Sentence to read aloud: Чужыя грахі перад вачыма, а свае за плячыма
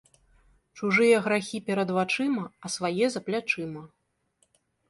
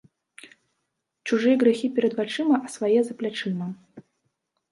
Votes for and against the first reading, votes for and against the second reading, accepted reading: 2, 0, 0, 2, first